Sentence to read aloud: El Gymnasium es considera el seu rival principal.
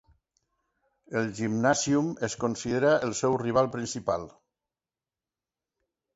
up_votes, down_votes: 2, 0